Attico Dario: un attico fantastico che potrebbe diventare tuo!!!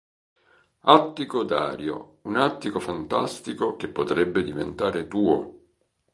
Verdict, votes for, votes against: accepted, 2, 0